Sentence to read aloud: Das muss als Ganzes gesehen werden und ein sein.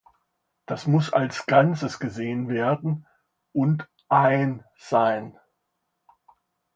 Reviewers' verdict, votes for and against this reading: accepted, 2, 0